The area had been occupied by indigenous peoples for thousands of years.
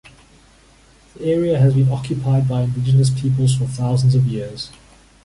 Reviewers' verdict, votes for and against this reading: accepted, 2, 0